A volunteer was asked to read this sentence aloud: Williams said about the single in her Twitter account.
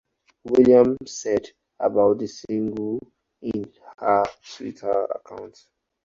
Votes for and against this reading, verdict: 4, 0, accepted